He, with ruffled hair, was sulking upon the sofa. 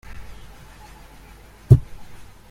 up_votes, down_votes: 0, 2